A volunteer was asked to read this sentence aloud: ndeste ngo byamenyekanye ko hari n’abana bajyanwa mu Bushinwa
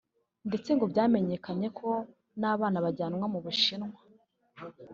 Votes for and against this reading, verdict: 1, 2, rejected